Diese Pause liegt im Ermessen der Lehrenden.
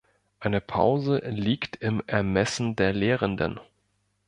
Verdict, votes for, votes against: rejected, 0, 2